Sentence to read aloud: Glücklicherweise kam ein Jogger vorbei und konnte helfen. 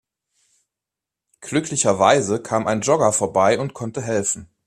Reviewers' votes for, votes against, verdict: 2, 0, accepted